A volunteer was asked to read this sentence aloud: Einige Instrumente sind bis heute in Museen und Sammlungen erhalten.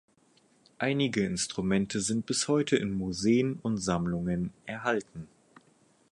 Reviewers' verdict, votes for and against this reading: accepted, 4, 0